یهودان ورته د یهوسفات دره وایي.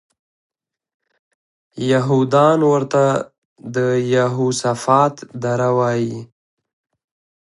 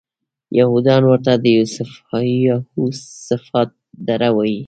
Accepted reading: first